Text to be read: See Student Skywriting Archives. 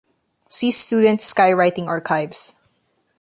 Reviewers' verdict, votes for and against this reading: accepted, 4, 0